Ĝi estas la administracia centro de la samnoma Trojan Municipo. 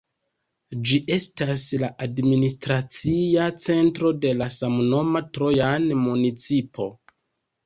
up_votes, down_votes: 2, 0